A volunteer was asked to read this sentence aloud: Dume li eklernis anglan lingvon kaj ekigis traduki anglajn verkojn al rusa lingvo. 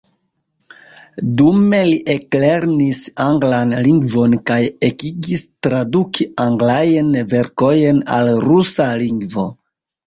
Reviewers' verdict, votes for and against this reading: rejected, 1, 2